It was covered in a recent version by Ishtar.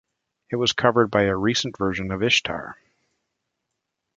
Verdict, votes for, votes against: rejected, 1, 2